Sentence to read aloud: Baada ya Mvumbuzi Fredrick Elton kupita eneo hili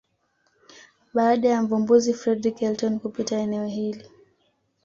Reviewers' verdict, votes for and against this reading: accepted, 2, 0